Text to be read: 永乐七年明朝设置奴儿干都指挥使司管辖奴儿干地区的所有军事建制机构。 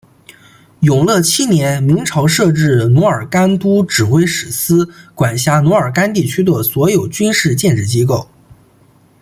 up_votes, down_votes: 2, 0